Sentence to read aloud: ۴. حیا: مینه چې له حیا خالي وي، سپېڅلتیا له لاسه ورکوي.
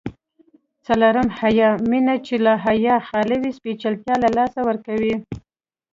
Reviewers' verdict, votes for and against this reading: rejected, 0, 2